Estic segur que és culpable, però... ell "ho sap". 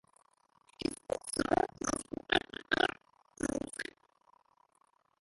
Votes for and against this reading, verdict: 1, 2, rejected